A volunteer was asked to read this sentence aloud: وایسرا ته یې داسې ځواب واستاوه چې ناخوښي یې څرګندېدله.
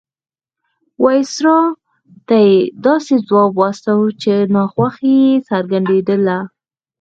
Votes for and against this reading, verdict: 4, 0, accepted